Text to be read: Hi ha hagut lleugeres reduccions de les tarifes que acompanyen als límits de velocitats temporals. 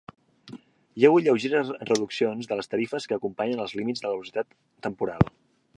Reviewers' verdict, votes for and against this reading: rejected, 1, 3